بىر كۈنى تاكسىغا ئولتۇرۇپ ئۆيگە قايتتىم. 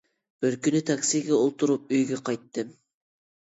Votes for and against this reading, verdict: 1, 2, rejected